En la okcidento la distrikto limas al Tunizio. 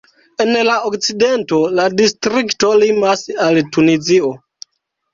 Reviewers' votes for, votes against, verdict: 0, 2, rejected